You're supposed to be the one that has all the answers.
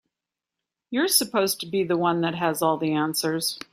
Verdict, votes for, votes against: accepted, 3, 0